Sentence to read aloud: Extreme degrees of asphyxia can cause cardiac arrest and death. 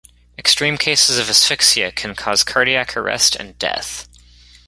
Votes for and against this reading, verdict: 1, 2, rejected